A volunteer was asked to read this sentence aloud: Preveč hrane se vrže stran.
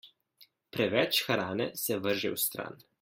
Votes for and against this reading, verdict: 1, 2, rejected